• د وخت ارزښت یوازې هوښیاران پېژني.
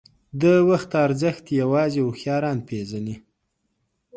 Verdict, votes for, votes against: accepted, 2, 0